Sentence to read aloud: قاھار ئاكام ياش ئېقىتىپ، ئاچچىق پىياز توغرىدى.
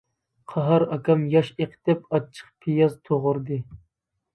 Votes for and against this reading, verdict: 2, 0, accepted